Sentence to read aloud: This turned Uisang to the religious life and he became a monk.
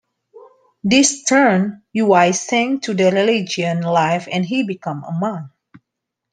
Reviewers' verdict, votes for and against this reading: rejected, 1, 2